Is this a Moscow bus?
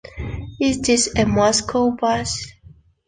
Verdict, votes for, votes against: accepted, 2, 0